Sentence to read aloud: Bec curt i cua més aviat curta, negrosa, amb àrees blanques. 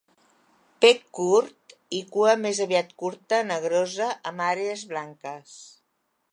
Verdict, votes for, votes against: accepted, 2, 0